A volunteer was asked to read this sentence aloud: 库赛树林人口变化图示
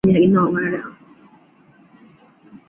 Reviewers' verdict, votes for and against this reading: rejected, 0, 2